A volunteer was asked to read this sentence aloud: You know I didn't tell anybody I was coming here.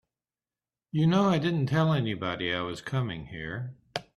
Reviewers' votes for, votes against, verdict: 3, 0, accepted